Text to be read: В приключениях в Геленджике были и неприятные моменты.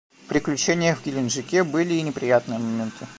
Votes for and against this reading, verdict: 2, 1, accepted